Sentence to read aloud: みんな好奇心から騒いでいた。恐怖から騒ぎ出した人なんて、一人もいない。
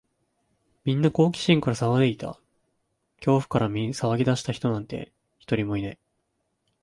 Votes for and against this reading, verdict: 2, 1, accepted